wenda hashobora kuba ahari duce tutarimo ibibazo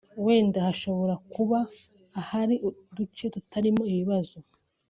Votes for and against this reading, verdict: 3, 0, accepted